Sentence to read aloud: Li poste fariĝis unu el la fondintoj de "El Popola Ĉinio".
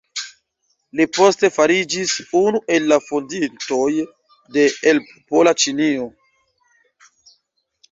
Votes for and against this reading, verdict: 0, 2, rejected